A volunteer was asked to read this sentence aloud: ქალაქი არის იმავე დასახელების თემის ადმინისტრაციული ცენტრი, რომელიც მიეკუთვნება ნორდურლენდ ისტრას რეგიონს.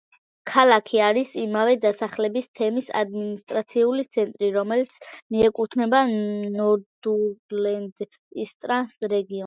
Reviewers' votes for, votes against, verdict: 0, 2, rejected